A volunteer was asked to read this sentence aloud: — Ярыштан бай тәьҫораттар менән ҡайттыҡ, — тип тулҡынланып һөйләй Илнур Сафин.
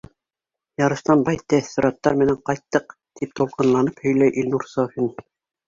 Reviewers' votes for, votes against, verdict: 2, 0, accepted